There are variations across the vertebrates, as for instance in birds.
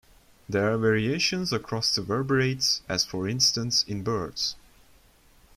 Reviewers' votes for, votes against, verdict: 0, 2, rejected